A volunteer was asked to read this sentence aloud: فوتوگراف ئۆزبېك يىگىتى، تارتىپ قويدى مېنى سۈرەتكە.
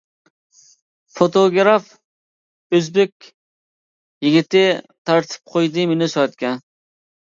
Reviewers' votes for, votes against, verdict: 0, 2, rejected